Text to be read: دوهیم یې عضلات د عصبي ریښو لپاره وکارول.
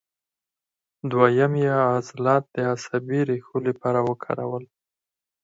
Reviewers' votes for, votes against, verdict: 4, 2, accepted